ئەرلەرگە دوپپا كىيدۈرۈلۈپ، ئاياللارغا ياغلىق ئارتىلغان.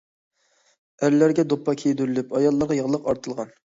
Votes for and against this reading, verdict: 2, 0, accepted